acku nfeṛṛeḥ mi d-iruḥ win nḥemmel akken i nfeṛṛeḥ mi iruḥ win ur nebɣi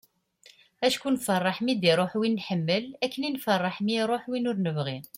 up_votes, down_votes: 2, 0